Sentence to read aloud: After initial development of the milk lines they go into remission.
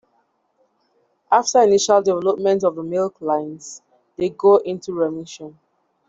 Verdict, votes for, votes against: accepted, 2, 0